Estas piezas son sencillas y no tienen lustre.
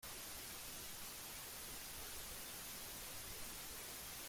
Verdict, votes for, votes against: rejected, 0, 2